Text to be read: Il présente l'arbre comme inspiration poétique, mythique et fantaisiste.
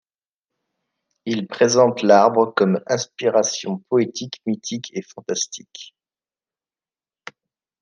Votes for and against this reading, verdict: 1, 2, rejected